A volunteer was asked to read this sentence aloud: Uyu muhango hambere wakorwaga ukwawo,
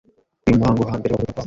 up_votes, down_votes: 0, 2